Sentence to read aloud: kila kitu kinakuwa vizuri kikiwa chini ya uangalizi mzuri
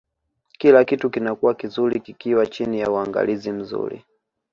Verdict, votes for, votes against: accepted, 2, 0